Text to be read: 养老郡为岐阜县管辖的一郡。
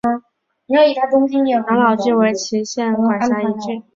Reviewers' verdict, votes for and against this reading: rejected, 0, 3